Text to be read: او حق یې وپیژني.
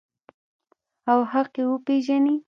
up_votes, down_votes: 2, 0